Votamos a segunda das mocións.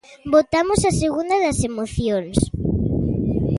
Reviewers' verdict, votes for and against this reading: rejected, 0, 2